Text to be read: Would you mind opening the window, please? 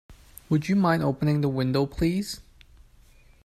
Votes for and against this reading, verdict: 2, 0, accepted